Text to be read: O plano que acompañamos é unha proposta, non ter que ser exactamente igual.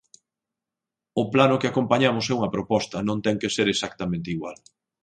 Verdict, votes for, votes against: accepted, 10, 2